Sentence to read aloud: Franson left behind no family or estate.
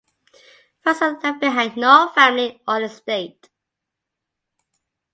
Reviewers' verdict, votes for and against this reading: accepted, 2, 0